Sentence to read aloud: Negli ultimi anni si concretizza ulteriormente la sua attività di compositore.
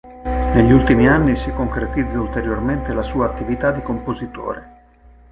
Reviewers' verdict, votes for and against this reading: accepted, 4, 0